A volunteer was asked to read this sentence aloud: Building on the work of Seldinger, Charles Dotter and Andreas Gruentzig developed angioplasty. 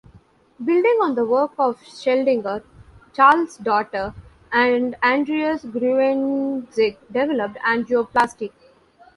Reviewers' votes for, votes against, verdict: 1, 2, rejected